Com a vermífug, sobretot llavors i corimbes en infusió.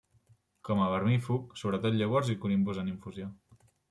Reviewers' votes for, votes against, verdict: 0, 2, rejected